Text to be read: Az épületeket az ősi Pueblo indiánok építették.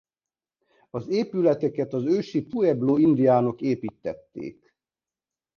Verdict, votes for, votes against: rejected, 0, 2